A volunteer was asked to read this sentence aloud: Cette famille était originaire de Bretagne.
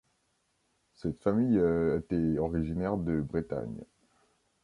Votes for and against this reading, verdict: 1, 2, rejected